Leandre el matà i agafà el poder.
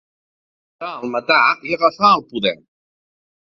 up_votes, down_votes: 0, 2